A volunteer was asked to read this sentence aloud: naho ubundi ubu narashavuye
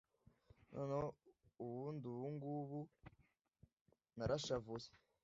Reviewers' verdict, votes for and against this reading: rejected, 0, 2